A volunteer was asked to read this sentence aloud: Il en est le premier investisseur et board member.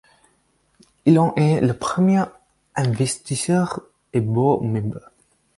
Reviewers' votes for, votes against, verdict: 4, 0, accepted